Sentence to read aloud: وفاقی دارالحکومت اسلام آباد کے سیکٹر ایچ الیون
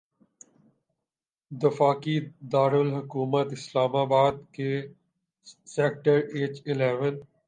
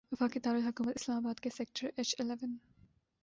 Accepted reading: second